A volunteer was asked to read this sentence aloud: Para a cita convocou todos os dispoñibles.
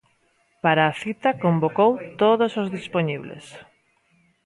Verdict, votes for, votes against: accepted, 2, 0